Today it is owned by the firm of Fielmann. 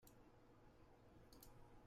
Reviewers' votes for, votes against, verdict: 0, 2, rejected